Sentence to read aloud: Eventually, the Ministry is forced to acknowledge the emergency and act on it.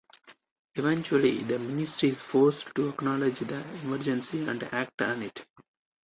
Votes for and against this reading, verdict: 4, 2, accepted